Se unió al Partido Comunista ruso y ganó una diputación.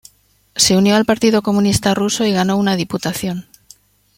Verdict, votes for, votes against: accepted, 2, 1